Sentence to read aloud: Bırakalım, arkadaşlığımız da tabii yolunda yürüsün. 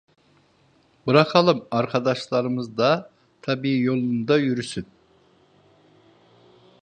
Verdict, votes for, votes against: rejected, 0, 2